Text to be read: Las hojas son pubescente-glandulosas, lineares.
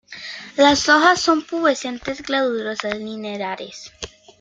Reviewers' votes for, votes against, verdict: 0, 2, rejected